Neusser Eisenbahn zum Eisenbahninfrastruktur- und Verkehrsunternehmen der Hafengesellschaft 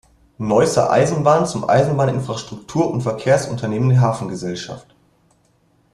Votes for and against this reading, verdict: 0, 2, rejected